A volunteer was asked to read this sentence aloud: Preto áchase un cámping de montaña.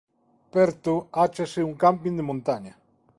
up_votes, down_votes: 0, 2